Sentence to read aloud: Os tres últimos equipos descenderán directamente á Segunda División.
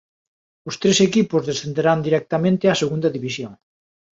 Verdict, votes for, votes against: rejected, 1, 2